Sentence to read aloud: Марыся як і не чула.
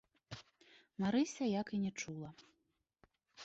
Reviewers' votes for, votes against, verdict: 2, 0, accepted